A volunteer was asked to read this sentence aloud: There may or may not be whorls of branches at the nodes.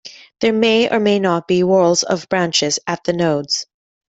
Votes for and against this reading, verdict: 2, 0, accepted